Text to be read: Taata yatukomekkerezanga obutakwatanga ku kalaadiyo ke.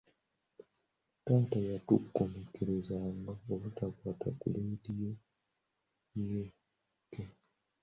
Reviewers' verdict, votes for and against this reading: rejected, 1, 2